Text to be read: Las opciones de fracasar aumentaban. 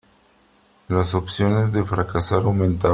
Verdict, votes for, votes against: rejected, 1, 3